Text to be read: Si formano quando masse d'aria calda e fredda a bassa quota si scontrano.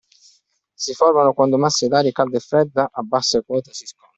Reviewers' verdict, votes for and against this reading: rejected, 1, 2